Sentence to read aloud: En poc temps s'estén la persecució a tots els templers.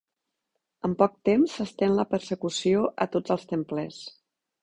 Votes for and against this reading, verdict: 2, 0, accepted